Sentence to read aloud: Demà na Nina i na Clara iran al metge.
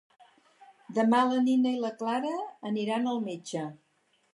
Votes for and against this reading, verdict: 2, 4, rejected